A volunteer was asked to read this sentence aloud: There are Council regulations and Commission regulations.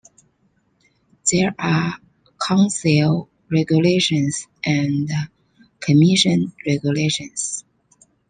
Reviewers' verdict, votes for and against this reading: accepted, 2, 0